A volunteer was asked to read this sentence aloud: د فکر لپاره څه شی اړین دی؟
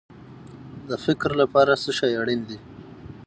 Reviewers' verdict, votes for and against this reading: rejected, 3, 3